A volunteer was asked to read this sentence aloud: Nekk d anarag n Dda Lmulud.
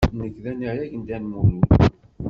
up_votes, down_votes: 2, 0